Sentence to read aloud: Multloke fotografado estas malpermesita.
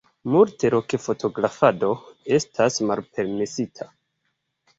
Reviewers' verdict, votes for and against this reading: rejected, 0, 3